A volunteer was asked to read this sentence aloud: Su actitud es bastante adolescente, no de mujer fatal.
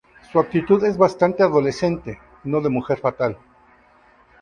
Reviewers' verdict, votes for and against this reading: accepted, 2, 0